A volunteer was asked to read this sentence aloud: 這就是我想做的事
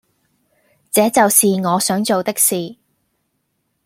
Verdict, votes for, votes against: rejected, 0, 2